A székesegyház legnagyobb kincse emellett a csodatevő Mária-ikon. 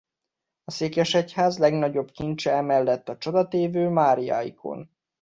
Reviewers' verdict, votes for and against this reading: rejected, 0, 2